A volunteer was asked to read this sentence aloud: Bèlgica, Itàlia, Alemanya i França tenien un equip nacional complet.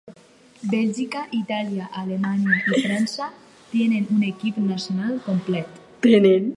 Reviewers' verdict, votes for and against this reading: rejected, 2, 4